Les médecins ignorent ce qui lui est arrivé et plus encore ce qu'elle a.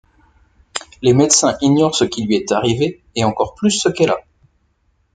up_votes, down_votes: 1, 2